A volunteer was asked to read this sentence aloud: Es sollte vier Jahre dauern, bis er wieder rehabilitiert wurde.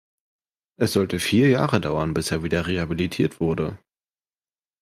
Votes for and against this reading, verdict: 2, 0, accepted